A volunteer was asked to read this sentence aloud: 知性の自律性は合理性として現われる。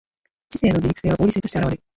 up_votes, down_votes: 1, 2